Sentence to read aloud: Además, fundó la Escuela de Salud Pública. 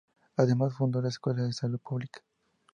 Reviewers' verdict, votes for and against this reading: rejected, 0, 2